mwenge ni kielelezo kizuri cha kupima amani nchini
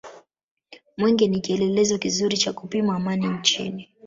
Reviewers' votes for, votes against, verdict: 2, 0, accepted